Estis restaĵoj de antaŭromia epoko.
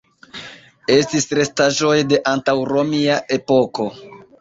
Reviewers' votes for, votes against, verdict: 1, 2, rejected